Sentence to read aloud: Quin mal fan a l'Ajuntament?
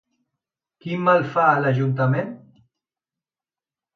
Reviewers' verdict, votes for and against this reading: rejected, 1, 2